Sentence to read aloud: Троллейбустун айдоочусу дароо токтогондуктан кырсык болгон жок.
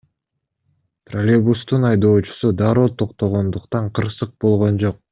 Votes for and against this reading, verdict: 2, 0, accepted